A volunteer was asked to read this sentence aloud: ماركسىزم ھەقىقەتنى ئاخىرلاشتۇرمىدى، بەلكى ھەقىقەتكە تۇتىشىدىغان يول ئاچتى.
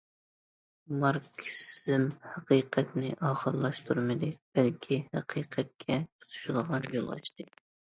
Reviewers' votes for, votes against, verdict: 1, 2, rejected